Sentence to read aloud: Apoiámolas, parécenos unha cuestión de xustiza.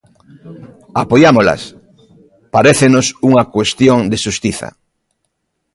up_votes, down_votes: 2, 0